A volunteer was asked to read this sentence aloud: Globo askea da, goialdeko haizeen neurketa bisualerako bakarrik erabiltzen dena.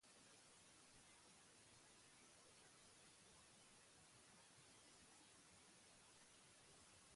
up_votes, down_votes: 0, 4